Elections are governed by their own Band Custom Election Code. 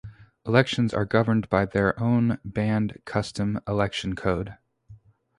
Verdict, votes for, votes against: rejected, 2, 2